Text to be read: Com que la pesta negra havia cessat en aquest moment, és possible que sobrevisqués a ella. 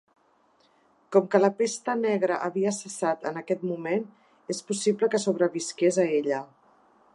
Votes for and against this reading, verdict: 3, 0, accepted